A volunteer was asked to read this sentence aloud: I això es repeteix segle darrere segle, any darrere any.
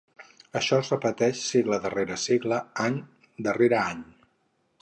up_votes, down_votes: 0, 4